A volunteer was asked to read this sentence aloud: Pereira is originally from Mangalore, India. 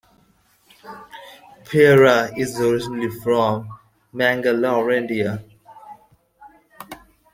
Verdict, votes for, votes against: rejected, 1, 2